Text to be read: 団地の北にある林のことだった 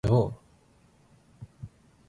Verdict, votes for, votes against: rejected, 0, 3